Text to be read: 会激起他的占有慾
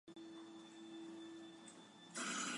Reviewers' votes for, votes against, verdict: 0, 3, rejected